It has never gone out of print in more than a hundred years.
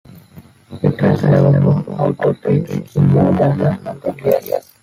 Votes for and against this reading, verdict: 1, 2, rejected